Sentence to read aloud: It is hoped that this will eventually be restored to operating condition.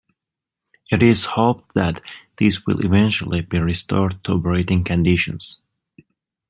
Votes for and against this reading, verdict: 0, 2, rejected